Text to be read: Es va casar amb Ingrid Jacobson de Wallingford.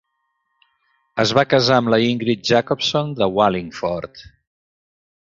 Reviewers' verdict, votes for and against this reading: rejected, 1, 2